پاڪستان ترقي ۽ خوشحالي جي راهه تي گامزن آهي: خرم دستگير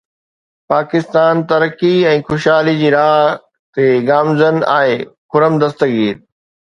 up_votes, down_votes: 2, 0